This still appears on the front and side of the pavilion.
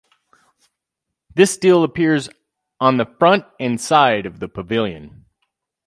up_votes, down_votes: 4, 0